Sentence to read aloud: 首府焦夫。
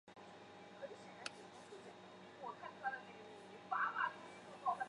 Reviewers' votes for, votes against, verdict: 0, 4, rejected